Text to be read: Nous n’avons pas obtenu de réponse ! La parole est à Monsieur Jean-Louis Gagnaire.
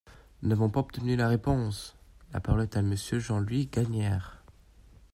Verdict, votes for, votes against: rejected, 0, 2